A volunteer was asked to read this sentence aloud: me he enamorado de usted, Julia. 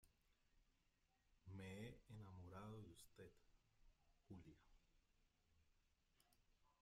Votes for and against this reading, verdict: 0, 2, rejected